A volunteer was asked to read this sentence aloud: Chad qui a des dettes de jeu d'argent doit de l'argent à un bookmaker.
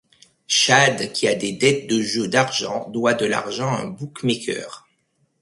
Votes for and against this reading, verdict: 2, 0, accepted